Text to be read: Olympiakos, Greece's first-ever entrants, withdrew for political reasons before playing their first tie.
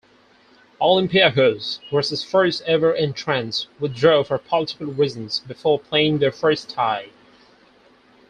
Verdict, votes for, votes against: rejected, 2, 4